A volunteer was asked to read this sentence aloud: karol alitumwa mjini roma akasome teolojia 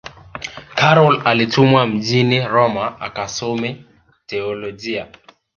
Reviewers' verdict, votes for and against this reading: accepted, 2, 0